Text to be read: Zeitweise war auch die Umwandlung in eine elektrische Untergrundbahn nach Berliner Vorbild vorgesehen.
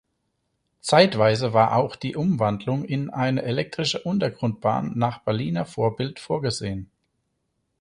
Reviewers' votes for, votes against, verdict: 4, 0, accepted